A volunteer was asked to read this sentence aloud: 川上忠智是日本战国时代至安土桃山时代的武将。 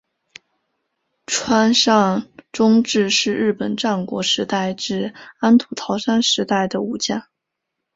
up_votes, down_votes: 7, 1